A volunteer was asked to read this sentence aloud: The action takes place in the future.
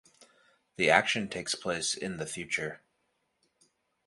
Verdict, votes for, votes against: accepted, 2, 0